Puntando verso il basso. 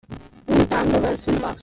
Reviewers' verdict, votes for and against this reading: rejected, 1, 2